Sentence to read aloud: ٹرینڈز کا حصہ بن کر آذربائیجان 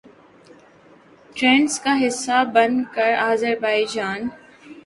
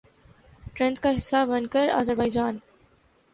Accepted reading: first